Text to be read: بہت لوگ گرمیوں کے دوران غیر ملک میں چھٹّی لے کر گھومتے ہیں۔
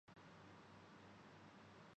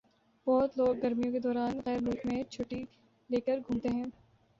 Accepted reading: second